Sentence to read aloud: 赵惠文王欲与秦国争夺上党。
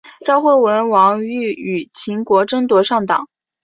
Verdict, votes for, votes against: accepted, 3, 1